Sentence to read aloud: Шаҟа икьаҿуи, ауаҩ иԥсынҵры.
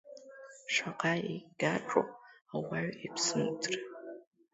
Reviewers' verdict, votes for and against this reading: rejected, 0, 2